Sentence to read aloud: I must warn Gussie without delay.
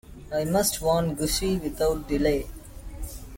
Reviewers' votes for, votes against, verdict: 2, 0, accepted